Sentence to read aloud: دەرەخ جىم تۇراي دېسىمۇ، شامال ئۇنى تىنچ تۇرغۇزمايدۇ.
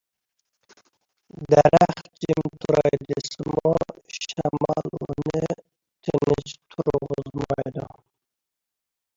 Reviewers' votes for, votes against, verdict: 0, 2, rejected